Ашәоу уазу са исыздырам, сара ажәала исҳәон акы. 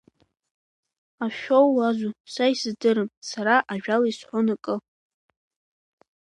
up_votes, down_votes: 2, 0